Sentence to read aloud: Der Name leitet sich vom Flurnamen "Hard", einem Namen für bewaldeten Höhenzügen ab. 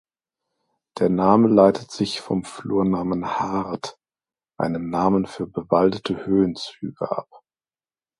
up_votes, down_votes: 0, 2